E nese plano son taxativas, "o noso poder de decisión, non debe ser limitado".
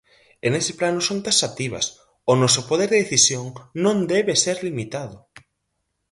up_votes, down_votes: 4, 0